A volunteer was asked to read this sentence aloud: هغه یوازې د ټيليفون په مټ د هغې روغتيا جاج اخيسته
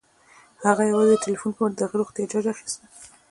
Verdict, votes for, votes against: accepted, 2, 0